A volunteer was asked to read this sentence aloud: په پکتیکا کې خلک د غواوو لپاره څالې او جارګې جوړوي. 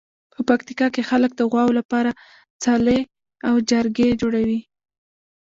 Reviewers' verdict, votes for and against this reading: rejected, 0, 2